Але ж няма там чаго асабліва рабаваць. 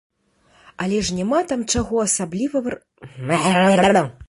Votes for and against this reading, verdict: 0, 2, rejected